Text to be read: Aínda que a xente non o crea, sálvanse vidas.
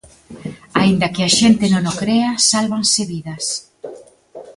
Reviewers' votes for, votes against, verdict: 2, 0, accepted